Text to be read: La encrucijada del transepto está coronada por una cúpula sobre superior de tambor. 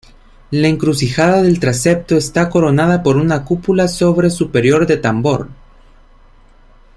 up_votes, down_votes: 2, 0